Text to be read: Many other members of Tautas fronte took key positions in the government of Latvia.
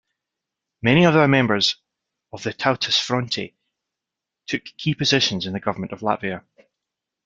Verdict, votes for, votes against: accepted, 2, 1